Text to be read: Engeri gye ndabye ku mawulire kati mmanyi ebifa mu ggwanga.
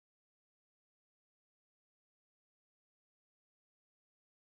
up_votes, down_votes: 0, 2